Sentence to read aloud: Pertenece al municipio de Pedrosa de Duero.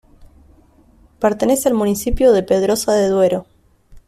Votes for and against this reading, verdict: 2, 0, accepted